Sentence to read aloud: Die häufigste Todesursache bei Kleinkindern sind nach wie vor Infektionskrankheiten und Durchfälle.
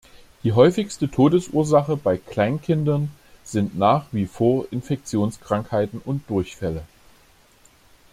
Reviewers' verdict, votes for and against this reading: accepted, 2, 0